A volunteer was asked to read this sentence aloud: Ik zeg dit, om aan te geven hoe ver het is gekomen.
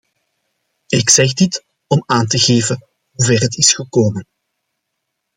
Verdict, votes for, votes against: accepted, 2, 0